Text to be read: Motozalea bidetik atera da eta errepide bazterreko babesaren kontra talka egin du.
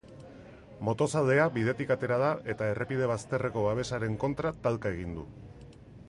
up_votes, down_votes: 2, 0